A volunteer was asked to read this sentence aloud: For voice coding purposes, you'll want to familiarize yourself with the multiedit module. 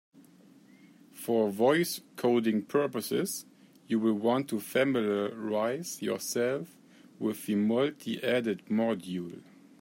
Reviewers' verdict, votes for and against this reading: rejected, 1, 2